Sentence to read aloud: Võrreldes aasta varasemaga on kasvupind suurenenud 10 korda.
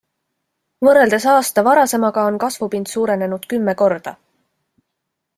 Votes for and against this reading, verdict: 0, 2, rejected